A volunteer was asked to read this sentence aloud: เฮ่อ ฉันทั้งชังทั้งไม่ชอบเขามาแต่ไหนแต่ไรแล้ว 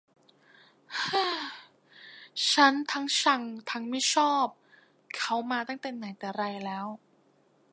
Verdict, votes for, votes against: rejected, 1, 2